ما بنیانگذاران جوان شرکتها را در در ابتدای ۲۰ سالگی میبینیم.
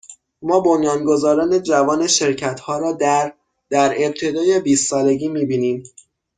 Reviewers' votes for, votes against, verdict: 0, 2, rejected